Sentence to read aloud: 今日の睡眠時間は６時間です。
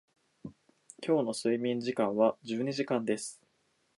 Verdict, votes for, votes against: rejected, 0, 2